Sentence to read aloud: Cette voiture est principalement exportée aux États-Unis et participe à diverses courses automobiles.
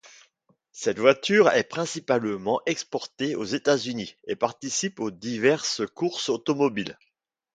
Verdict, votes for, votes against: rejected, 1, 2